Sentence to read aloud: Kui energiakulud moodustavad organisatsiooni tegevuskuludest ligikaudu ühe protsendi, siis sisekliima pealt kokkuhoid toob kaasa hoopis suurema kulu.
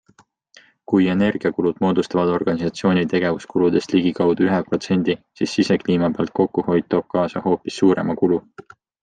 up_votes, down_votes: 2, 0